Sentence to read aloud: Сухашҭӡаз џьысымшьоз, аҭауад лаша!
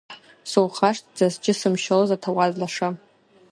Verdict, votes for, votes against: accepted, 2, 0